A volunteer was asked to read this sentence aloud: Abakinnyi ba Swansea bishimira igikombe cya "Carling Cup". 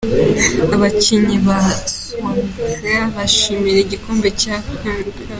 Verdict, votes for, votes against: accepted, 2, 1